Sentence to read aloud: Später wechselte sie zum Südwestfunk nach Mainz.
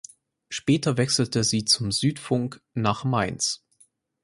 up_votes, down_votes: 0, 4